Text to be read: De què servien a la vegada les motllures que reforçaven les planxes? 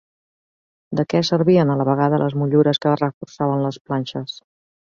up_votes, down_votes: 2, 0